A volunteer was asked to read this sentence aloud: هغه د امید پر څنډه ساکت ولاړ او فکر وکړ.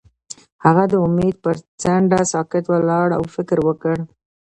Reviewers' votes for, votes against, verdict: 1, 2, rejected